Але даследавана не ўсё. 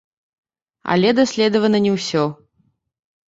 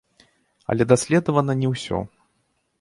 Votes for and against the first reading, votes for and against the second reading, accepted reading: 0, 2, 2, 1, second